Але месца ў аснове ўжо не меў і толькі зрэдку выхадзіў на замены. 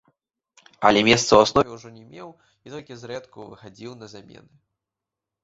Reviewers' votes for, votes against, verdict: 0, 2, rejected